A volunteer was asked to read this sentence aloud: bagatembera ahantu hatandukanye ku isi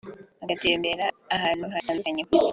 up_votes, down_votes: 2, 0